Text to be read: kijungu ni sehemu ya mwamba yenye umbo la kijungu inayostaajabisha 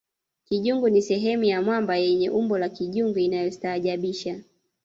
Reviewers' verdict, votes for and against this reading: rejected, 1, 2